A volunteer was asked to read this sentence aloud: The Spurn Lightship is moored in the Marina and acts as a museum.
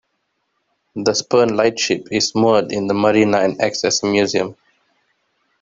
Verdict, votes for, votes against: rejected, 2, 3